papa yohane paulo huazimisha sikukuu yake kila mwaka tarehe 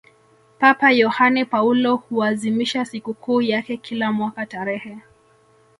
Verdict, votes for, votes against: accepted, 2, 0